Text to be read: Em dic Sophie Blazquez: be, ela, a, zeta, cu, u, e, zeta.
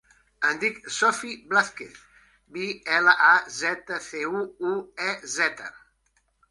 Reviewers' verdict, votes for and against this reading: rejected, 0, 2